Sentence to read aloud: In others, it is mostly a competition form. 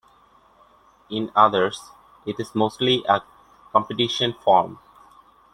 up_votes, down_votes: 2, 0